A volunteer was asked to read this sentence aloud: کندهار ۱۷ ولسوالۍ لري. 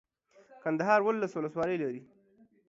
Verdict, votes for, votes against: rejected, 0, 2